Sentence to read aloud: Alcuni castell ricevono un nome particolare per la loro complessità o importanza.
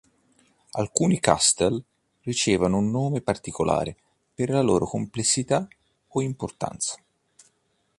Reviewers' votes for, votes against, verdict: 2, 0, accepted